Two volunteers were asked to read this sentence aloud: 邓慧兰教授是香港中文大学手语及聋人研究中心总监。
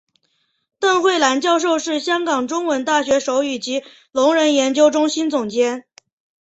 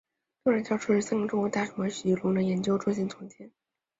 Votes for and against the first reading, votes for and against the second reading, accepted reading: 2, 0, 0, 3, first